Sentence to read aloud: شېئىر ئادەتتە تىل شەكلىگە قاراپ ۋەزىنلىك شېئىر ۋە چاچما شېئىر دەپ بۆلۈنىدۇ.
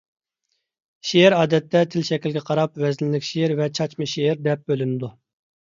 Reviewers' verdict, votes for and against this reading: accepted, 2, 0